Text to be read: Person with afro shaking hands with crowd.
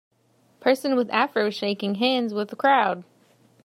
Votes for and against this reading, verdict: 2, 0, accepted